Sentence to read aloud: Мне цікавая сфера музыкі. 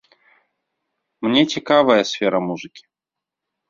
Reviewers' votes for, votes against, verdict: 2, 0, accepted